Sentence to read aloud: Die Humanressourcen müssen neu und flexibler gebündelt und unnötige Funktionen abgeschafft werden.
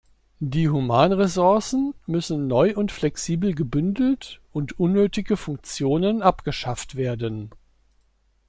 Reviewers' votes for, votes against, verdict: 1, 2, rejected